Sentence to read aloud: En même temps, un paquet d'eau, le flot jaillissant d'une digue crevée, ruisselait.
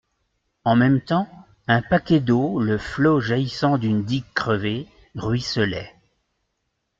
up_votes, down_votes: 2, 0